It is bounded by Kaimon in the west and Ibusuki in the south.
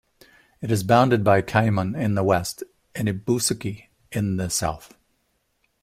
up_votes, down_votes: 1, 2